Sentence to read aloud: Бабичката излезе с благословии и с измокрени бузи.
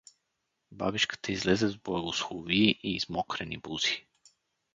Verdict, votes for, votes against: rejected, 2, 2